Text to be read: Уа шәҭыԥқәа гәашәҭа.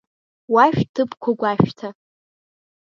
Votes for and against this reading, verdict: 2, 0, accepted